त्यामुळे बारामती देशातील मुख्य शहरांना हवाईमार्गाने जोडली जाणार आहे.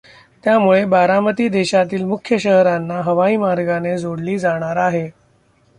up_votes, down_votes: 1, 2